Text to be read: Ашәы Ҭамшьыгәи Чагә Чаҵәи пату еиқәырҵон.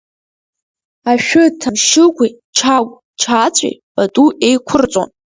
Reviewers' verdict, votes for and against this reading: accepted, 2, 0